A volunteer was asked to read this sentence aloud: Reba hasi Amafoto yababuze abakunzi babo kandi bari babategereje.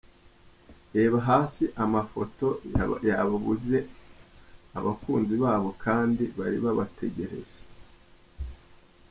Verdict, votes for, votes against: rejected, 1, 2